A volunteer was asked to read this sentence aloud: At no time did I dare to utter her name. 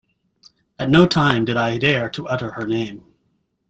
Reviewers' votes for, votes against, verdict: 2, 0, accepted